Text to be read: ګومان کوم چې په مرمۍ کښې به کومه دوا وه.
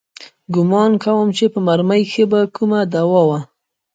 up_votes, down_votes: 0, 2